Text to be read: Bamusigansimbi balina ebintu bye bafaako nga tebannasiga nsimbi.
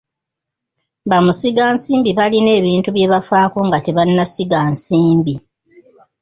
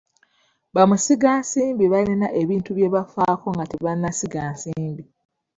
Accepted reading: second